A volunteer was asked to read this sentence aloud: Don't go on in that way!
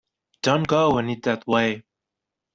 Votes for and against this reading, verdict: 0, 2, rejected